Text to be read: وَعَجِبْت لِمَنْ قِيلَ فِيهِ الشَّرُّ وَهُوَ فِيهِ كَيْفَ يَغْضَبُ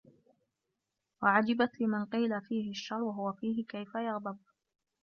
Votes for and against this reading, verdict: 0, 2, rejected